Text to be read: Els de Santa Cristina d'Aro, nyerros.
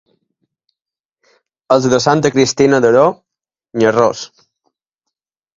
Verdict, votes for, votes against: accepted, 3, 2